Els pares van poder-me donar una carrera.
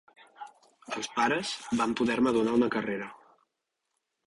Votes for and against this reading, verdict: 1, 2, rejected